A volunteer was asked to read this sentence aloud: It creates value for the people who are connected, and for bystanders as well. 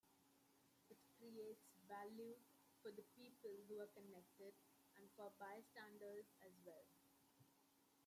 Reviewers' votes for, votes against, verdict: 2, 0, accepted